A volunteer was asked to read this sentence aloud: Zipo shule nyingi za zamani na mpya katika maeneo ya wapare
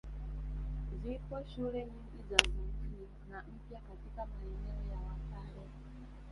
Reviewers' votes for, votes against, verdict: 1, 2, rejected